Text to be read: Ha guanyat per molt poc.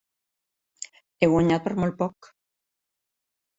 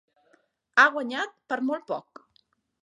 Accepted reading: second